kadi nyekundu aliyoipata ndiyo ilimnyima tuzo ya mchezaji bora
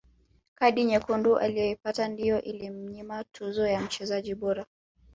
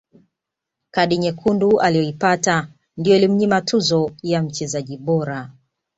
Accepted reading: second